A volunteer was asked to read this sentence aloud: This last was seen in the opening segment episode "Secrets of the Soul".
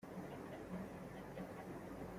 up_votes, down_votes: 0, 2